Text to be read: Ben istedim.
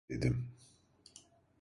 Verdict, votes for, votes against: rejected, 0, 2